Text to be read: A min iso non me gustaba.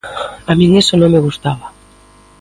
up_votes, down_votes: 2, 0